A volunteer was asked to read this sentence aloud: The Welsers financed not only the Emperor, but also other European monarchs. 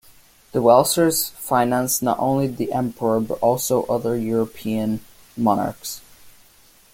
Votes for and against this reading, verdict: 2, 0, accepted